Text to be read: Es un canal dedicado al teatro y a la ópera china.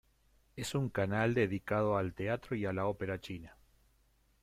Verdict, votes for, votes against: accepted, 2, 0